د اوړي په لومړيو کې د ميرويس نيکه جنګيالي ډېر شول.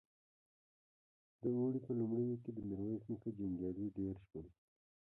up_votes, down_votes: 1, 2